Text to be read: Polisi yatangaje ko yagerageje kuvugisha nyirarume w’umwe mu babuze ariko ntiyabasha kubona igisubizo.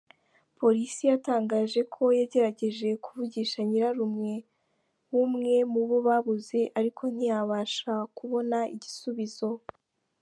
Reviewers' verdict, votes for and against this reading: accepted, 2, 1